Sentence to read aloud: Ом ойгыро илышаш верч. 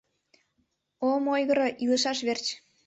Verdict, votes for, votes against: accepted, 2, 0